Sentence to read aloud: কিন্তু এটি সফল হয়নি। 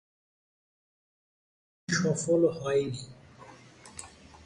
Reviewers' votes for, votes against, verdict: 0, 3, rejected